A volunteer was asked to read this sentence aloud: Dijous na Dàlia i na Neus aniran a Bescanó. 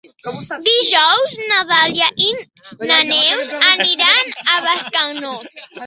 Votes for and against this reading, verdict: 0, 2, rejected